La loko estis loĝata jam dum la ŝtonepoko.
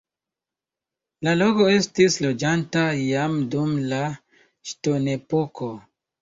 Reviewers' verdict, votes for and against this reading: rejected, 0, 2